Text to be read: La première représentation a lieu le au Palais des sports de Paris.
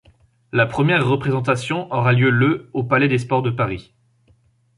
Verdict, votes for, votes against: rejected, 0, 2